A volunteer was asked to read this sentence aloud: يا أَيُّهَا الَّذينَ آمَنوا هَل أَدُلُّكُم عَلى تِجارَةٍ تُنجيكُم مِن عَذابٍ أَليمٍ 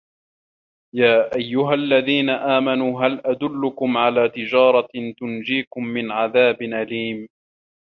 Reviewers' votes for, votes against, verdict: 1, 2, rejected